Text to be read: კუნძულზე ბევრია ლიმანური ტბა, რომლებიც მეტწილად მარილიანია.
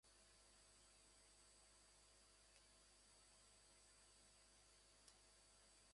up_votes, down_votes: 0, 2